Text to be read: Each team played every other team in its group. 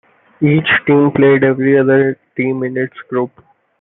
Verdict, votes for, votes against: accepted, 2, 1